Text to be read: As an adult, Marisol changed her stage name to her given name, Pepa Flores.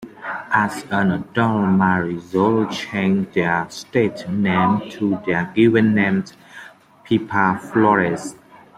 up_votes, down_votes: 1, 2